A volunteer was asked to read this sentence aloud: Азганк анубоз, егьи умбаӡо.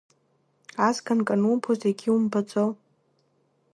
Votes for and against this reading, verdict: 1, 2, rejected